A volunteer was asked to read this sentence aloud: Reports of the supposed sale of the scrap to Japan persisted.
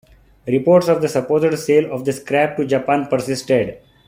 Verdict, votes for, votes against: accepted, 2, 0